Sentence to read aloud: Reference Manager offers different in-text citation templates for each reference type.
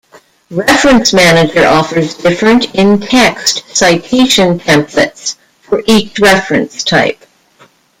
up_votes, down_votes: 1, 2